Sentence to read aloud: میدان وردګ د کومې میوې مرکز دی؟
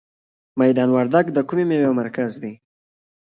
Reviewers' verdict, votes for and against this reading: accepted, 2, 0